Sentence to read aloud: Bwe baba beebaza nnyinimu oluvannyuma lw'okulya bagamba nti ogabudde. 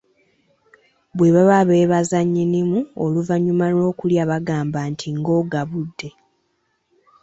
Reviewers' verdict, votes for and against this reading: rejected, 1, 2